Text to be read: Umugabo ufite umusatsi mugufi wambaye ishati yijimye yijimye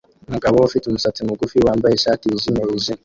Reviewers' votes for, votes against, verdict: 1, 2, rejected